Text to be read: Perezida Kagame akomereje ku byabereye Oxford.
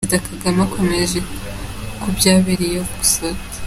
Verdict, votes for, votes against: accepted, 2, 1